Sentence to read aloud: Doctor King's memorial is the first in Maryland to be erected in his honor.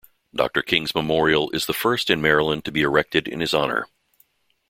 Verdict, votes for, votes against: accepted, 2, 0